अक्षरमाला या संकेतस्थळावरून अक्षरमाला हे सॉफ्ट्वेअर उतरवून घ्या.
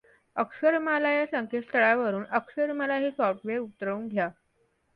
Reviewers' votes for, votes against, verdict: 2, 0, accepted